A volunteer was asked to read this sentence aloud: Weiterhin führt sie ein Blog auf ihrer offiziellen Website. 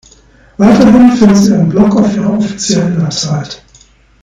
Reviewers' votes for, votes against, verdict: 2, 1, accepted